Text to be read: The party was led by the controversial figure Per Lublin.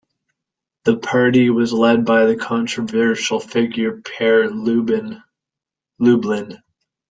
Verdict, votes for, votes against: rejected, 1, 2